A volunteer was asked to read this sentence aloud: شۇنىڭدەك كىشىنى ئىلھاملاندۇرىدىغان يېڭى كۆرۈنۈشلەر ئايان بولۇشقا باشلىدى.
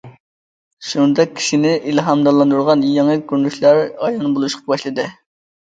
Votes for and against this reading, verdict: 1, 2, rejected